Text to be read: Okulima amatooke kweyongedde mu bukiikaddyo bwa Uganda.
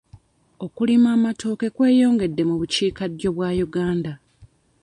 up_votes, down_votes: 2, 0